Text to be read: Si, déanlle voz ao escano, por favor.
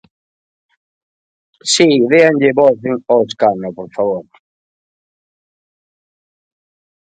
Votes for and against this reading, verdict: 1, 2, rejected